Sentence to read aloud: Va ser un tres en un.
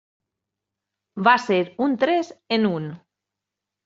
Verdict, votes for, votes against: accepted, 3, 0